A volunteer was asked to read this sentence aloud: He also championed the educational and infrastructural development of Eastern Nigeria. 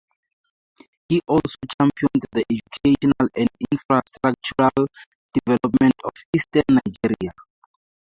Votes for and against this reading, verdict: 2, 0, accepted